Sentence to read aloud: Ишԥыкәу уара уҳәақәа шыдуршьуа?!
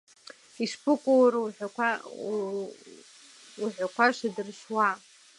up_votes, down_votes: 1, 2